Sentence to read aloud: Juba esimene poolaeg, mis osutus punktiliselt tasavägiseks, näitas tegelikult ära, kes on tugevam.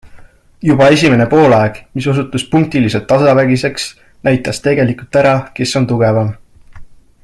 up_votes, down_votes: 2, 0